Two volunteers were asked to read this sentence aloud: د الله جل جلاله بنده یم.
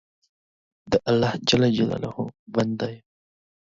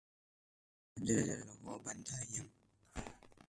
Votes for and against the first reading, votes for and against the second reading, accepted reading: 2, 0, 0, 2, first